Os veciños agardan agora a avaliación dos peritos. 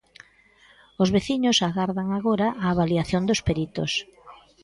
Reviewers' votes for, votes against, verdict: 3, 0, accepted